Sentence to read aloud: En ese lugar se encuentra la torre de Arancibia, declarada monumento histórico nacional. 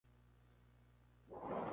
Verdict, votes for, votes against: rejected, 0, 2